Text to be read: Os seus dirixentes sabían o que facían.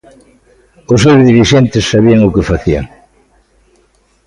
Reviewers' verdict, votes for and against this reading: accepted, 2, 0